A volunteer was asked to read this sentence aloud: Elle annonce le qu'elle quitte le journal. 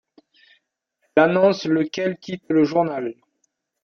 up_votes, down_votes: 1, 2